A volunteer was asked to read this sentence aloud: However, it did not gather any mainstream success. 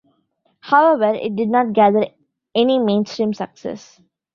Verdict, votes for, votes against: accepted, 2, 0